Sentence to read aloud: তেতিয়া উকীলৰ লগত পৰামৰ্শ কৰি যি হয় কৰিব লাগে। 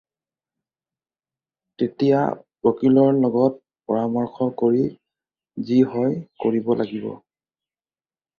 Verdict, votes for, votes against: rejected, 0, 4